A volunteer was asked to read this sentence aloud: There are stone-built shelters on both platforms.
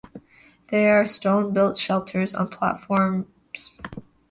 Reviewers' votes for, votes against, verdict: 1, 2, rejected